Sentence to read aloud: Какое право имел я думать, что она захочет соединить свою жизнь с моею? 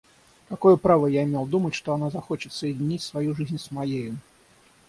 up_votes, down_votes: 3, 6